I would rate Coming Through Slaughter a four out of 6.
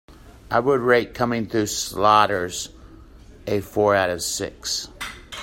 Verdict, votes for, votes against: rejected, 0, 2